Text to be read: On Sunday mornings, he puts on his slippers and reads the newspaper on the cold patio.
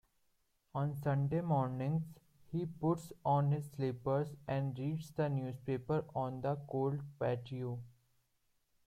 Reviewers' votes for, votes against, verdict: 0, 2, rejected